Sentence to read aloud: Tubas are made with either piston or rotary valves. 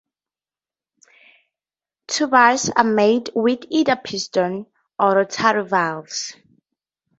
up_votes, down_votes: 2, 0